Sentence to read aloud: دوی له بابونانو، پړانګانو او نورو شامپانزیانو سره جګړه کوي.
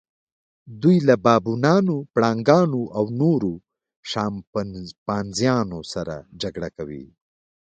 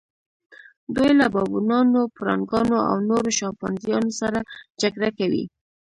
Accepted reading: first